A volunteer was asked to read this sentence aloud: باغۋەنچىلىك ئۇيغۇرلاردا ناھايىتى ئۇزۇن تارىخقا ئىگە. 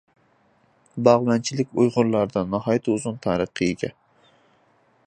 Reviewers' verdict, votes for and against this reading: accepted, 3, 0